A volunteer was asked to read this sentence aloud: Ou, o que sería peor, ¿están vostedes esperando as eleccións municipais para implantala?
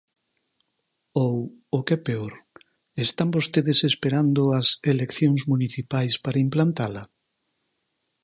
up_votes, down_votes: 0, 4